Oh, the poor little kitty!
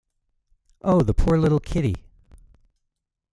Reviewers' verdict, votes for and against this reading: accepted, 2, 0